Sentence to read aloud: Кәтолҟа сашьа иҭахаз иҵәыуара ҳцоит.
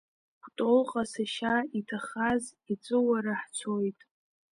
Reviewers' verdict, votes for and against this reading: rejected, 1, 2